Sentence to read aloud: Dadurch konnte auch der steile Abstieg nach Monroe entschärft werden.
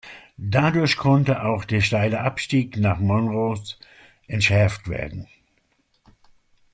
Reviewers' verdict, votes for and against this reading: accepted, 2, 1